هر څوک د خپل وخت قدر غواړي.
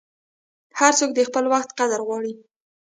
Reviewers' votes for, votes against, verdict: 1, 2, rejected